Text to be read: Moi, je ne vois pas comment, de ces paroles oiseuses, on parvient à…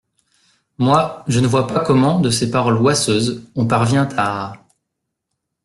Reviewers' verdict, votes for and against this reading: rejected, 0, 2